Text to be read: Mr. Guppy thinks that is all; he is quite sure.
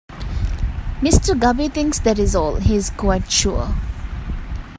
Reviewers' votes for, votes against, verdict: 0, 2, rejected